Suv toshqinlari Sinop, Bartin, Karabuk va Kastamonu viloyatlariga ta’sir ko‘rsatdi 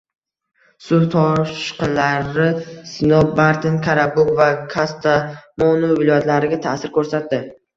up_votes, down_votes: 1, 2